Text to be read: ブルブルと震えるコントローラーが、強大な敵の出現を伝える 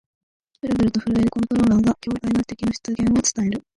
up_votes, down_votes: 1, 2